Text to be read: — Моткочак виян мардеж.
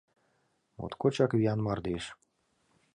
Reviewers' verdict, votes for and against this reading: accepted, 2, 0